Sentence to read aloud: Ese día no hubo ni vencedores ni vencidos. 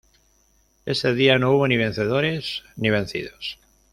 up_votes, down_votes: 2, 0